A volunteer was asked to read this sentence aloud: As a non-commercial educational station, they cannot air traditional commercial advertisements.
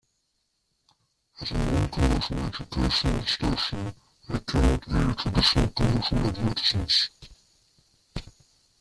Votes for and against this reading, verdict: 0, 2, rejected